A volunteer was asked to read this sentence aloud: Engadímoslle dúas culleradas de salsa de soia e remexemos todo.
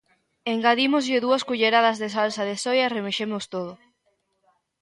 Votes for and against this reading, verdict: 2, 0, accepted